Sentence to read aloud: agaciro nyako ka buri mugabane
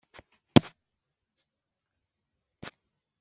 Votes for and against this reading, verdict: 1, 2, rejected